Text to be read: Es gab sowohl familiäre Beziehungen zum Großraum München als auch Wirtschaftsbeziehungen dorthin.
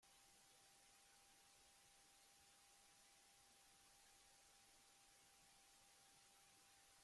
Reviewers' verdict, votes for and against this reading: rejected, 0, 2